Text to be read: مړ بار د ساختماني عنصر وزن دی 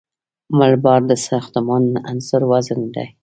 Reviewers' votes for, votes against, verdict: 1, 2, rejected